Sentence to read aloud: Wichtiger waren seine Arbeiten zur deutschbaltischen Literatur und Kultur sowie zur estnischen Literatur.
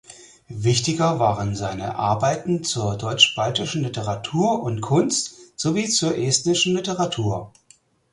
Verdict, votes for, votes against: rejected, 0, 4